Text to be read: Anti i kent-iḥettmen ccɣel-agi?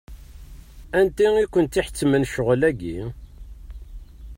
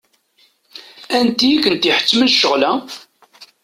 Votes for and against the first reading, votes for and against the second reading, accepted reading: 2, 0, 1, 2, first